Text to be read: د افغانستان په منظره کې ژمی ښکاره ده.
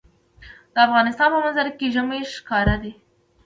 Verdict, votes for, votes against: rejected, 1, 2